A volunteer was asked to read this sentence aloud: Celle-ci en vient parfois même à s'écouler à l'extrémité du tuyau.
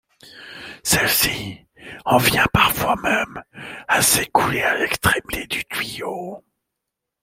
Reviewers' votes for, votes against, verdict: 1, 2, rejected